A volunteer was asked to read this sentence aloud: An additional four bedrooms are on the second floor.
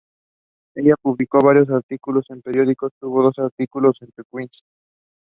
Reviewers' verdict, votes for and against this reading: rejected, 0, 2